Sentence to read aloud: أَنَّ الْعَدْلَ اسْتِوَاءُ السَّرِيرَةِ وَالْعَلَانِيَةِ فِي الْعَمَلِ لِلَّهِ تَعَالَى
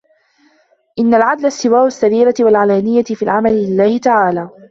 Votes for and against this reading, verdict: 1, 2, rejected